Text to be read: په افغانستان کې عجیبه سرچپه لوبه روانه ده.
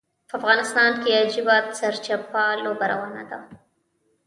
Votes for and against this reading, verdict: 2, 1, accepted